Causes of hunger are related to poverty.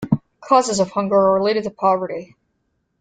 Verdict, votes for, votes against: accepted, 2, 1